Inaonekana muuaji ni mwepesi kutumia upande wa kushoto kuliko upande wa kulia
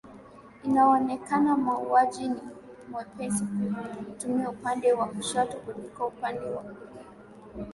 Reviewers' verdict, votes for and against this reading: rejected, 1, 2